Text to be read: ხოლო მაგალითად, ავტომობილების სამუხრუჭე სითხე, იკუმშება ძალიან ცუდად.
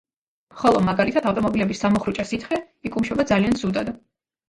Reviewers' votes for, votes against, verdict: 1, 2, rejected